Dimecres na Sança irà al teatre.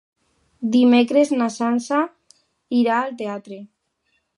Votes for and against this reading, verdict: 3, 0, accepted